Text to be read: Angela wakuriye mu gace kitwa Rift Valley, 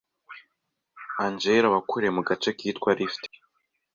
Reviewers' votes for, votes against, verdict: 0, 2, rejected